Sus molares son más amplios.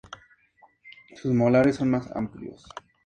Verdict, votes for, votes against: accepted, 2, 0